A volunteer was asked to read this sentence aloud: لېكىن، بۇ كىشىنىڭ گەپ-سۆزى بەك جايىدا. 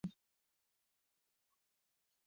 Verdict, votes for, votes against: rejected, 0, 2